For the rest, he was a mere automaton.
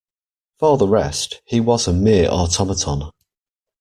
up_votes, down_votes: 2, 0